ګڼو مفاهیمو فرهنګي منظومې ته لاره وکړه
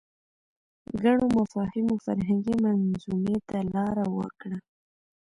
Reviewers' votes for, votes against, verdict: 2, 0, accepted